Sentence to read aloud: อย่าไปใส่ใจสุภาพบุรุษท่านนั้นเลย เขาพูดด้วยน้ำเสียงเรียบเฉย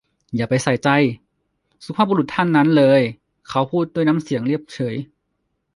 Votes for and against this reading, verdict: 0, 2, rejected